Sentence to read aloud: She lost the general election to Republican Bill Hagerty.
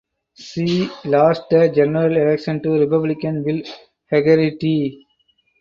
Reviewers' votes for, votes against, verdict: 4, 6, rejected